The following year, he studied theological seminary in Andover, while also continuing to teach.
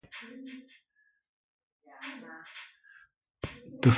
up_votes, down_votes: 0, 2